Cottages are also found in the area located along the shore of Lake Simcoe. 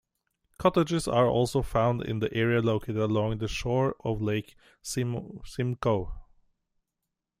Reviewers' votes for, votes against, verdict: 1, 2, rejected